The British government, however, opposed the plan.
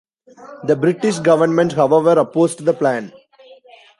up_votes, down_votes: 1, 2